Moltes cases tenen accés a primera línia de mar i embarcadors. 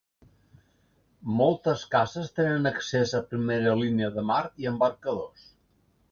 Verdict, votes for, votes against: accepted, 2, 0